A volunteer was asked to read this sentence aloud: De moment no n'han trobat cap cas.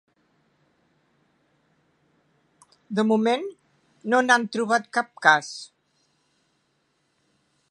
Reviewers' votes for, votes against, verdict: 3, 0, accepted